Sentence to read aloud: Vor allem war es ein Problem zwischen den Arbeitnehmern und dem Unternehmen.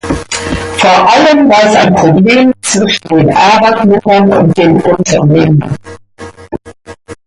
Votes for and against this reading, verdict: 2, 1, accepted